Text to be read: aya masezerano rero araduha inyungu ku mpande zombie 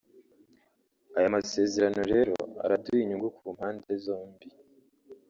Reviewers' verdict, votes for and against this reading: rejected, 0, 2